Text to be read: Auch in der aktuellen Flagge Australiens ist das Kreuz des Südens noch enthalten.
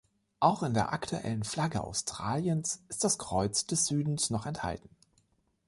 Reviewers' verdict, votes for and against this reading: accepted, 2, 0